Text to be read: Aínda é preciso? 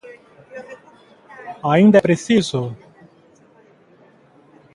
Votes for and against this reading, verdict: 2, 0, accepted